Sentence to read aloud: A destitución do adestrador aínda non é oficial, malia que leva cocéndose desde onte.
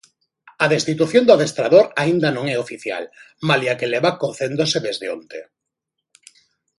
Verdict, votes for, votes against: accepted, 2, 0